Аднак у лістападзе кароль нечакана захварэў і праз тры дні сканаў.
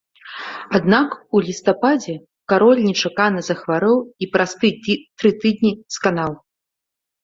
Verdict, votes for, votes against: rejected, 1, 2